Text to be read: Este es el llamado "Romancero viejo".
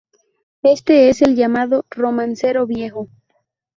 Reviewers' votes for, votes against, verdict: 2, 0, accepted